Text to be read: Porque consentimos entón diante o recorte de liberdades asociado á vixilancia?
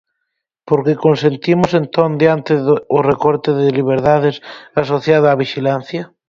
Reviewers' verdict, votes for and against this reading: rejected, 0, 4